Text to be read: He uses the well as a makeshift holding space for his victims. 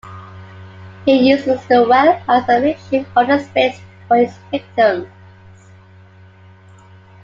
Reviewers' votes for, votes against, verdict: 2, 0, accepted